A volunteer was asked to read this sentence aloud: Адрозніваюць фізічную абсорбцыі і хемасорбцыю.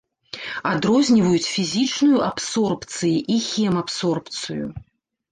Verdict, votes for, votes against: rejected, 1, 2